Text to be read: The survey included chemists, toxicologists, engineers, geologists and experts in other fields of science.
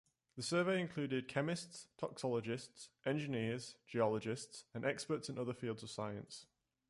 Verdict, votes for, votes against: accepted, 2, 0